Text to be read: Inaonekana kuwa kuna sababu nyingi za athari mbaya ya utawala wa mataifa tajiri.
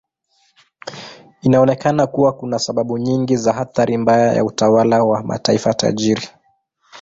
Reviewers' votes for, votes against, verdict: 2, 0, accepted